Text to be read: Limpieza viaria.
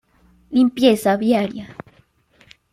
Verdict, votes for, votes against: accepted, 2, 1